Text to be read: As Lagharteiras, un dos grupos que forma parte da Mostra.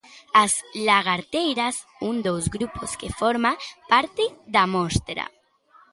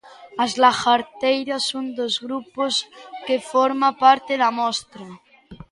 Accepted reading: second